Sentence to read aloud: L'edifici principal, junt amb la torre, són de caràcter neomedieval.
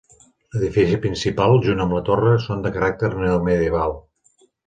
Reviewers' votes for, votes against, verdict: 5, 2, accepted